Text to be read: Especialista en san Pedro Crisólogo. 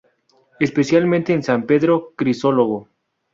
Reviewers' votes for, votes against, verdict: 0, 2, rejected